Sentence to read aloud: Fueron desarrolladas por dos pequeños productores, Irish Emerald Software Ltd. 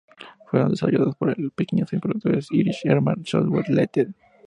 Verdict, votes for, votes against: accepted, 2, 0